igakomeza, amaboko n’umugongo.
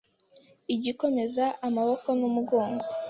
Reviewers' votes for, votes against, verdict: 2, 0, accepted